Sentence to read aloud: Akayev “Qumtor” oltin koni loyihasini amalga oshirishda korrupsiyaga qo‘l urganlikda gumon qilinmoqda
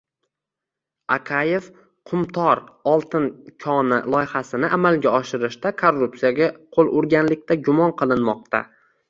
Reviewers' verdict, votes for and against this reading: accepted, 2, 0